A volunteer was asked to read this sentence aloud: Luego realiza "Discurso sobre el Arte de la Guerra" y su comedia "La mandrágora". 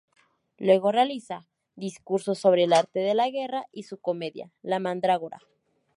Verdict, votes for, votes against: accepted, 2, 0